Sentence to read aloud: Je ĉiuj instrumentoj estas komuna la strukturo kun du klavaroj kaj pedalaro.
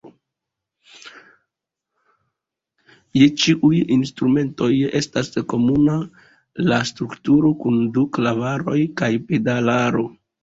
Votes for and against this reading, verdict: 2, 1, accepted